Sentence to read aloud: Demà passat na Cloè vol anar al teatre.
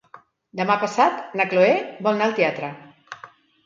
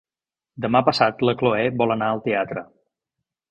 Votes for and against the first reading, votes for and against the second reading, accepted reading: 3, 0, 1, 2, first